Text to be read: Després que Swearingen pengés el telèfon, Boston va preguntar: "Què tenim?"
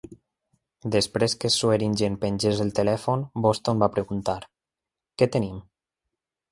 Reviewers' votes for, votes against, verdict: 2, 0, accepted